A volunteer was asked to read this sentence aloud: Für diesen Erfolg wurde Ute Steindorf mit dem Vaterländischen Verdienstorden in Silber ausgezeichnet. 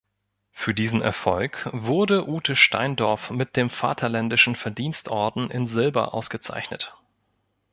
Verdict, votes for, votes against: accepted, 3, 0